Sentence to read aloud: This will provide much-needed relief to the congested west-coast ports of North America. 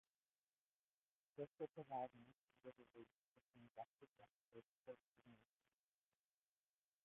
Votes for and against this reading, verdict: 0, 2, rejected